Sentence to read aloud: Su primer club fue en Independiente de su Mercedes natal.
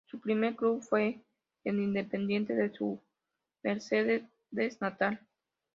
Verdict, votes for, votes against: rejected, 0, 2